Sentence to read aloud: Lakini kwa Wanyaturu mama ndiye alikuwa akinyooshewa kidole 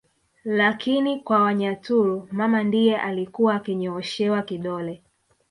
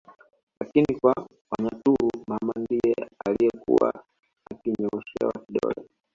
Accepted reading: first